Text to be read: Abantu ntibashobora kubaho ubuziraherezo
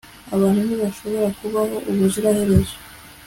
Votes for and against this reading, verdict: 2, 0, accepted